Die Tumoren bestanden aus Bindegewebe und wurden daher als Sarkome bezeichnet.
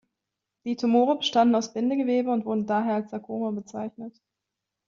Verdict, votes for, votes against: rejected, 1, 2